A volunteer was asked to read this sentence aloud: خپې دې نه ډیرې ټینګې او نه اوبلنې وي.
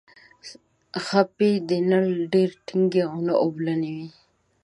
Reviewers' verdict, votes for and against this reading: accepted, 2, 0